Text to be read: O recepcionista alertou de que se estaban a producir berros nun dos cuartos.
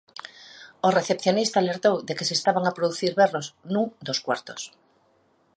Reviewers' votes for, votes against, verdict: 2, 0, accepted